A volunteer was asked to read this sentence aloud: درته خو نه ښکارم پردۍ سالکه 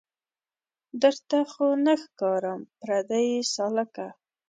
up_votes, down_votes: 2, 0